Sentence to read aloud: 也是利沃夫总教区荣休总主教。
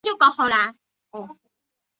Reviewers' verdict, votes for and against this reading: rejected, 0, 7